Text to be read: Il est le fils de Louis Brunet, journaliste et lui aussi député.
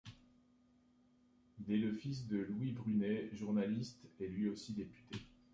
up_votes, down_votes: 2, 1